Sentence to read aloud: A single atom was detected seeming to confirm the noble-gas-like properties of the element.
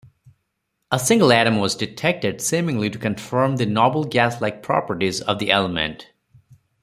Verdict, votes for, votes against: rejected, 2, 4